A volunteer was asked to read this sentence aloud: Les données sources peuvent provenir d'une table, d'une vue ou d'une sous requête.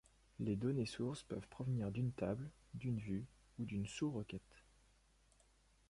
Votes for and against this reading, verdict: 2, 0, accepted